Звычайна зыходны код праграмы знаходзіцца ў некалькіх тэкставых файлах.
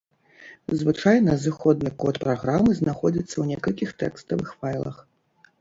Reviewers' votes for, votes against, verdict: 2, 0, accepted